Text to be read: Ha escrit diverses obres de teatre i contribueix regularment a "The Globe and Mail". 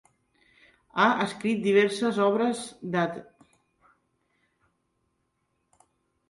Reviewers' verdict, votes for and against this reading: rejected, 0, 2